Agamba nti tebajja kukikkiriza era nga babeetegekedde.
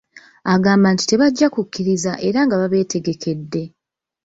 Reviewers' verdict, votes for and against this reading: rejected, 1, 2